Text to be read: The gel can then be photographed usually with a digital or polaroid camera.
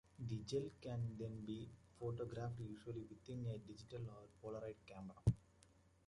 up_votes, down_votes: 0, 2